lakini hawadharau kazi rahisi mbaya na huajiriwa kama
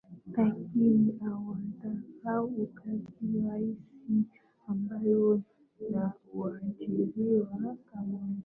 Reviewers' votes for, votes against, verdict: 0, 2, rejected